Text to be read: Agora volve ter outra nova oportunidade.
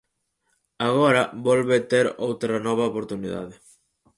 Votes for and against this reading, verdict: 4, 0, accepted